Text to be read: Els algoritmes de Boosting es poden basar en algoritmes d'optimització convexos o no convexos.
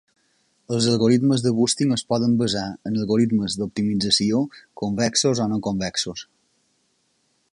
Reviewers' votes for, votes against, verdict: 2, 0, accepted